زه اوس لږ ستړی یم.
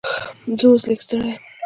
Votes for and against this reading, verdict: 1, 2, rejected